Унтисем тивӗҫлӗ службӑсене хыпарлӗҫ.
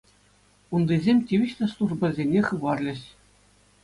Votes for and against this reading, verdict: 2, 0, accepted